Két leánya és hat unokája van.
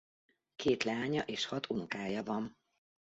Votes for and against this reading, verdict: 2, 0, accepted